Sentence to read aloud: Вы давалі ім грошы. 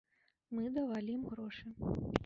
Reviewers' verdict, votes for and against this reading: rejected, 0, 2